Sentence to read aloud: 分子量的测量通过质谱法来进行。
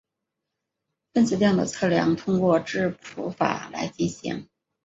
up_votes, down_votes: 2, 1